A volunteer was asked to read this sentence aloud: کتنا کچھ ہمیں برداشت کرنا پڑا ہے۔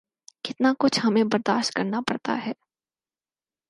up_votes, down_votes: 2, 4